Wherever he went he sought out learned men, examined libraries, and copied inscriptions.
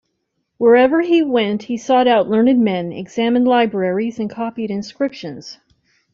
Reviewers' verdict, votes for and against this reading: accepted, 2, 0